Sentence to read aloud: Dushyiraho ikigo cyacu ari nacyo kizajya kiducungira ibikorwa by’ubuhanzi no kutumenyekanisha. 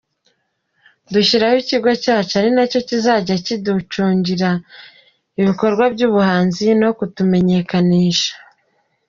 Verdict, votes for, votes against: accepted, 2, 0